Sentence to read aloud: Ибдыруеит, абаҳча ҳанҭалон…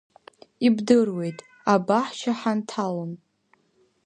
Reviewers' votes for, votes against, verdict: 0, 2, rejected